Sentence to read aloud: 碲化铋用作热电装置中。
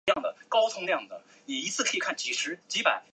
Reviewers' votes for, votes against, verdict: 0, 5, rejected